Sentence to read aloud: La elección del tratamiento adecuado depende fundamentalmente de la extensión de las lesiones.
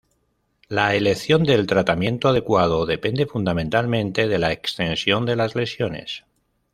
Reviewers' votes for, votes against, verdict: 2, 0, accepted